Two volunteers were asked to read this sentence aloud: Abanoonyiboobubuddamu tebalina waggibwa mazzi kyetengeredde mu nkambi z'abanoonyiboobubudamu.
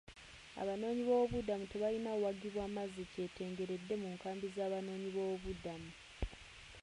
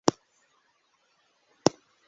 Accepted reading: first